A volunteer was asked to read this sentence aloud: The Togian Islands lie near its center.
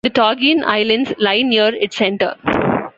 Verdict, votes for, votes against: accepted, 2, 0